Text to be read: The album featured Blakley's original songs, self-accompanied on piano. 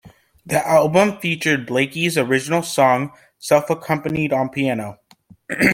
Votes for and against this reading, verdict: 0, 2, rejected